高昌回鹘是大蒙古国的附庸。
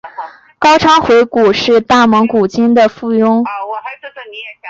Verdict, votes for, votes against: rejected, 0, 4